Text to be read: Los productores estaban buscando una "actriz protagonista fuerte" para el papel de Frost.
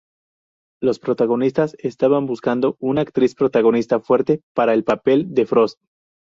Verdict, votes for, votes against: rejected, 0, 2